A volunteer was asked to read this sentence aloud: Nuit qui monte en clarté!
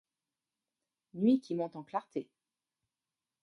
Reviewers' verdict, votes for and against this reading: accepted, 2, 1